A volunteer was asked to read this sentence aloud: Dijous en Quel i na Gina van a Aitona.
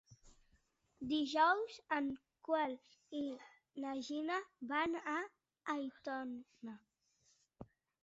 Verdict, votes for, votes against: rejected, 1, 2